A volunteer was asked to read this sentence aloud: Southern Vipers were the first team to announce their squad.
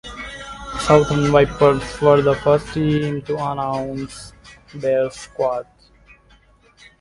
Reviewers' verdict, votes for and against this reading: accepted, 2, 0